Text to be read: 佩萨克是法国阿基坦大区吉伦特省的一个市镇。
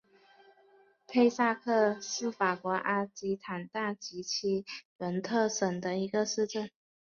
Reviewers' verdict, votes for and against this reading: accepted, 2, 1